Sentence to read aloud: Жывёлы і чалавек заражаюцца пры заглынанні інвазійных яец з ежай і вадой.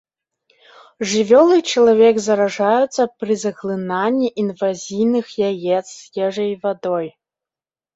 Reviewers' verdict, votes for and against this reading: accepted, 2, 0